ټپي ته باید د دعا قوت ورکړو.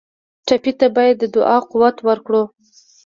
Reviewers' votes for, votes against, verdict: 3, 0, accepted